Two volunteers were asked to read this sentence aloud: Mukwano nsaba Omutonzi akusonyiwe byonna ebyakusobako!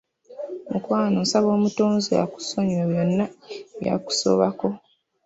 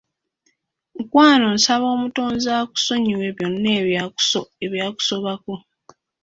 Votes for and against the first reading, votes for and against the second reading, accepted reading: 2, 1, 1, 2, first